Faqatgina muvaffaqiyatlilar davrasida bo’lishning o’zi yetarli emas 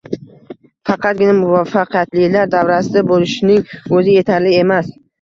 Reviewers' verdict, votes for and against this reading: accepted, 2, 0